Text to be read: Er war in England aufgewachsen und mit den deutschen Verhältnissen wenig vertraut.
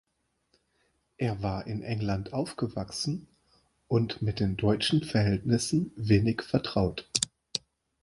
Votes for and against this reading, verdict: 2, 0, accepted